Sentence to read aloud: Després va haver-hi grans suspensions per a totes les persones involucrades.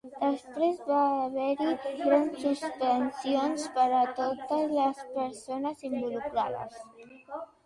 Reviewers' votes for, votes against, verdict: 1, 2, rejected